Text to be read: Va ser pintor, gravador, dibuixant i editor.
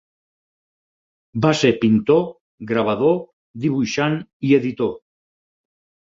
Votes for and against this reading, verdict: 8, 0, accepted